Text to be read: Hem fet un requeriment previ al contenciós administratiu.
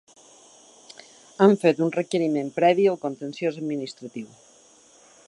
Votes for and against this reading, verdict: 2, 0, accepted